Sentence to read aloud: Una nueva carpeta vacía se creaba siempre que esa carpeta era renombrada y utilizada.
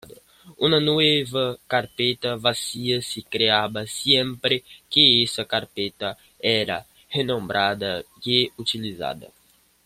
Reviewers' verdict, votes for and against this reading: accepted, 2, 0